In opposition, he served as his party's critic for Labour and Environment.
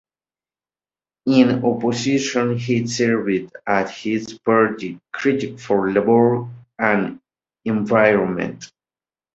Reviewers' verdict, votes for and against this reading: accepted, 2, 0